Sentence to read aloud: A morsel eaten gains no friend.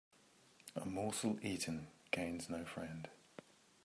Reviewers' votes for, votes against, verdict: 2, 1, accepted